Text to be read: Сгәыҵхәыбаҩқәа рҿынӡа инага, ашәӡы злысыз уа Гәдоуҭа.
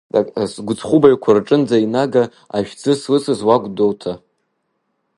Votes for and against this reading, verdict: 0, 2, rejected